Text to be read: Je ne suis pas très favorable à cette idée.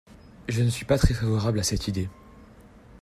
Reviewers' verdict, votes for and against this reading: accepted, 2, 0